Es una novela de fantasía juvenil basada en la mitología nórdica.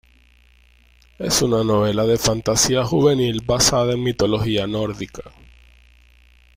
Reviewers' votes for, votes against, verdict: 1, 2, rejected